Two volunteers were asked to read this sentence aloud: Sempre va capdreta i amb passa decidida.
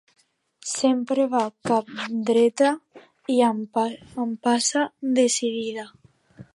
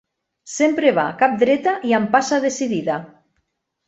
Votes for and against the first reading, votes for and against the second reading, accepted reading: 0, 2, 2, 0, second